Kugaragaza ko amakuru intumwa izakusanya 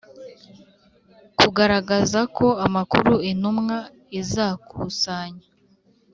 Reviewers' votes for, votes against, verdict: 2, 1, accepted